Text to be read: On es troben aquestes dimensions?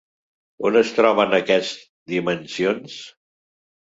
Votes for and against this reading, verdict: 0, 2, rejected